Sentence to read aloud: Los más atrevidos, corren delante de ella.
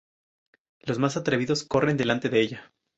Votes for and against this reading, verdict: 0, 2, rejected